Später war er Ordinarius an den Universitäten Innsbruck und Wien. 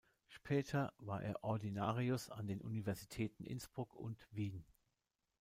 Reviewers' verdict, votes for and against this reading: rejected, 0, 2